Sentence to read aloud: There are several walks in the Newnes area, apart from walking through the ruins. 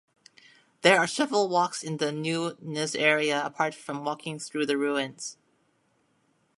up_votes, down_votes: 1, 2